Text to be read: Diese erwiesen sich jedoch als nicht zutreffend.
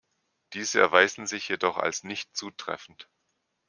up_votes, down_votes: 1, 2